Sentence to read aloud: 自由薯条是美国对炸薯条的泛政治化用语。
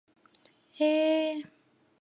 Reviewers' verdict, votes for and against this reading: rejected, 0, 3